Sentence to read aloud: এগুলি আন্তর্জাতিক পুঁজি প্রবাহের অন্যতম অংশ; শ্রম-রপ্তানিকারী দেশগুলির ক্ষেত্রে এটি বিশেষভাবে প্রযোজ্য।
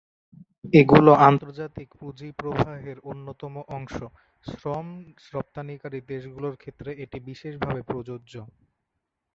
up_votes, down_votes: 2, 0